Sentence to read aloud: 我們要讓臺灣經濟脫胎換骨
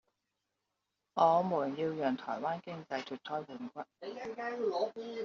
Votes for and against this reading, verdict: 0, 2, rejected